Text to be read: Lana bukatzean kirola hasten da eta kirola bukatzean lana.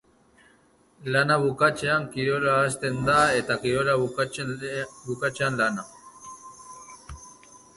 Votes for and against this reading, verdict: 0, 2, rejected